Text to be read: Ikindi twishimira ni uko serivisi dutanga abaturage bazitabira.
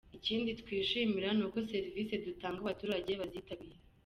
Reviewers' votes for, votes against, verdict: 0, 2, rejected